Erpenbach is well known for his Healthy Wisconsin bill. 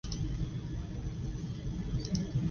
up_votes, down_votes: 0, 2